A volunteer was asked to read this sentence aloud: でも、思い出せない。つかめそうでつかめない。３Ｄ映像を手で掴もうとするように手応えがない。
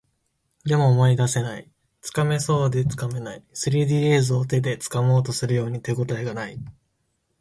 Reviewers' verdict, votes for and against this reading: rejected, 0, 2